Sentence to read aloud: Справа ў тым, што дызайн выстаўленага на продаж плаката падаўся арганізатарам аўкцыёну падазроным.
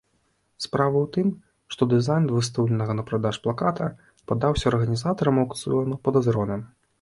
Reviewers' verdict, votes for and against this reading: rejected, 0, 2